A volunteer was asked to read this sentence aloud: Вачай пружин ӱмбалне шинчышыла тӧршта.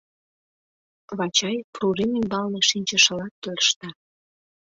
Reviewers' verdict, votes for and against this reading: rejected, 0, 2